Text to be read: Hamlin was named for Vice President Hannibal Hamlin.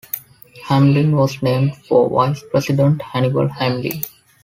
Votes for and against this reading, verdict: 2, 0, accepted